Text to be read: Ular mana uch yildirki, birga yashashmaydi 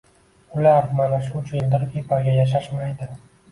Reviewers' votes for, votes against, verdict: 1, 2, rejected